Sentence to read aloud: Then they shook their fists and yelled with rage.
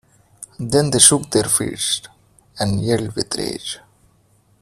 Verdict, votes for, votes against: rejected, 1, 2